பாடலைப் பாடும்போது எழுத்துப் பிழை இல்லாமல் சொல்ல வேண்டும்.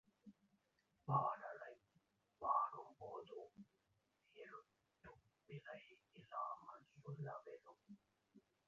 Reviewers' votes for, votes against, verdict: 0, 2, rejected